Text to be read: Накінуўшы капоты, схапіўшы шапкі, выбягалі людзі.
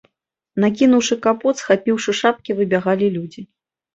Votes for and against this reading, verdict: 1, 2, rejected